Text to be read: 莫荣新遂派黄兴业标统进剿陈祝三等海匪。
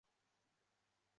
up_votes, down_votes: 0, 2